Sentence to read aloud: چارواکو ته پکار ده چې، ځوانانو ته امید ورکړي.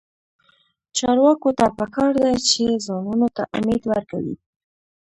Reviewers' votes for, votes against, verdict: 1, 2, rejected